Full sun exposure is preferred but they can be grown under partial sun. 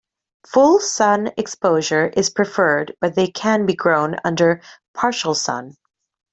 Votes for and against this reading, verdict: 2, 0, accepted